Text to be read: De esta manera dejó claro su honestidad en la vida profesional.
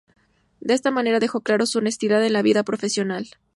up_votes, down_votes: 2, 0